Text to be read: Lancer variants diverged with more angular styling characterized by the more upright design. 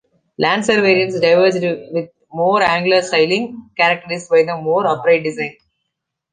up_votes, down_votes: 1, 2